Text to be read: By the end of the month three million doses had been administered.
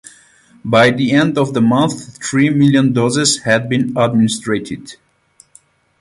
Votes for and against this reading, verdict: 4, 8, rejected